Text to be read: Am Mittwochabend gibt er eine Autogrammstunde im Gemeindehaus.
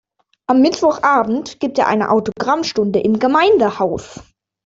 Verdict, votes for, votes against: accepted, 2, 0